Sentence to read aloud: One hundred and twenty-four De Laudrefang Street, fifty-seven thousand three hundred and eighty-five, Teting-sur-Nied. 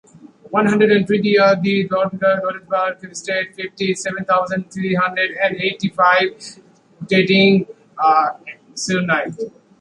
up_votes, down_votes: 0, 2